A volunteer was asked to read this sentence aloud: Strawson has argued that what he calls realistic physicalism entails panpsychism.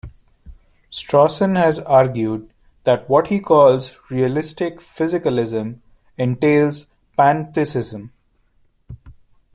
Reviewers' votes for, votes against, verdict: 1, 2, rejected